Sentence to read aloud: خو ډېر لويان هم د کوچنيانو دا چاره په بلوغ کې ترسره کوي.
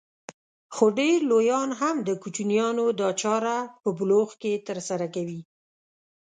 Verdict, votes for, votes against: accepted, 2, 0